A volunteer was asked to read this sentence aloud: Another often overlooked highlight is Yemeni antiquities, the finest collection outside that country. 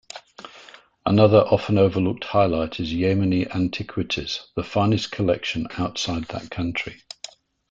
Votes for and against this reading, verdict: 2, 0, accepted